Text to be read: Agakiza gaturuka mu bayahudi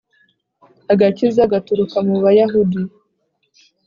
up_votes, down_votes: 2, 0